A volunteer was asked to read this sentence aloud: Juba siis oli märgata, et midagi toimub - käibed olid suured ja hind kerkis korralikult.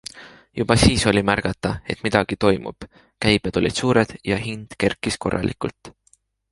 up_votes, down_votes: 3, 1